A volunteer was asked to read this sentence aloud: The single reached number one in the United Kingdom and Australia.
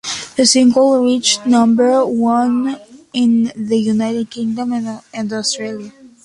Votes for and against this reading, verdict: 2, 1, accepted